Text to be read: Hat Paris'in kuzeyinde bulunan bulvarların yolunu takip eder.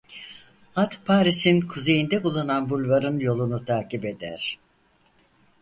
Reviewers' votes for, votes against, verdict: 2, 4, rejected